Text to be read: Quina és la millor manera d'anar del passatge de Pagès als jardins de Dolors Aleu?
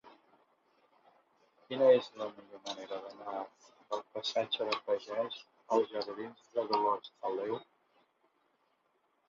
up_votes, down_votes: 2, 1